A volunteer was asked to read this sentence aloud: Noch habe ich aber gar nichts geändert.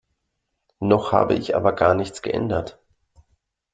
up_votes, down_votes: 2, 0